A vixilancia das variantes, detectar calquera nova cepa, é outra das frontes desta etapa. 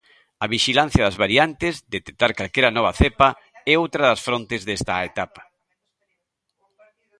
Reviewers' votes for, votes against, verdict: 2, 1, accepted